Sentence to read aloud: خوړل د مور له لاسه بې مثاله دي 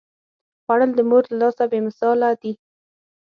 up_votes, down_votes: 6, 0